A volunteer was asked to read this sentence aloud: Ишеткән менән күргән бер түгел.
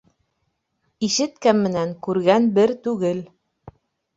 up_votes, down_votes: 1, 2